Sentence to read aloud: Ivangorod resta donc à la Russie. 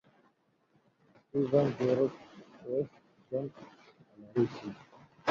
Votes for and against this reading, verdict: 0, 2, rejected